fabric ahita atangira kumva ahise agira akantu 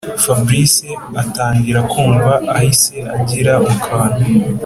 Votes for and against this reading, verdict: 0, 2, rejected